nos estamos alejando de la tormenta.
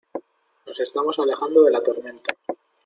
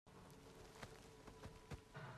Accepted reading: first